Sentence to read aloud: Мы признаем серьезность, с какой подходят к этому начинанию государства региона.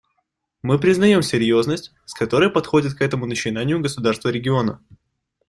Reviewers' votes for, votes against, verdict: 0, 2, rejected